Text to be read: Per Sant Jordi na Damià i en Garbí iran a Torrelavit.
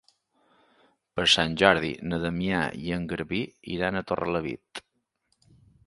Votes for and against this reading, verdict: 3, 0, accepted